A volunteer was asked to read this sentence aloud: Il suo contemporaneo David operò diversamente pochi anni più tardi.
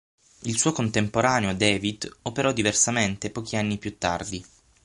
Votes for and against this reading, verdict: 9, 0, accepted